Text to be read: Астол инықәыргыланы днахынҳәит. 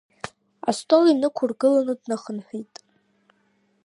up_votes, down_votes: 2, 0